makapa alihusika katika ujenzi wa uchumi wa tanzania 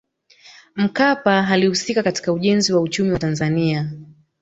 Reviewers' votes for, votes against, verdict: 2, 0, accepted